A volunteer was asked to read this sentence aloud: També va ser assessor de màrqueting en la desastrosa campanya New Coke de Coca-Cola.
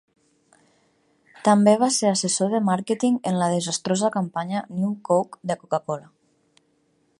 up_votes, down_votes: 5, 0